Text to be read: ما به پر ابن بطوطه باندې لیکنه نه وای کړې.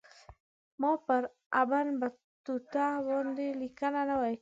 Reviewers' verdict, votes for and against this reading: rejected, 1, 2